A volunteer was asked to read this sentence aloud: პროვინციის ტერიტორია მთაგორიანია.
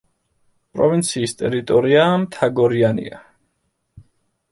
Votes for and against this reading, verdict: 1, 2, rejected